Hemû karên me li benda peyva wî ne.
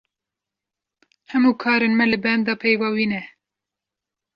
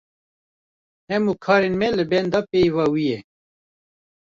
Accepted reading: first